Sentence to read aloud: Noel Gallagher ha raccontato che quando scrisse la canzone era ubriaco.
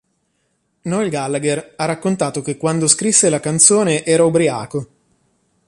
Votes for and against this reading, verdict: 2, 0, accepted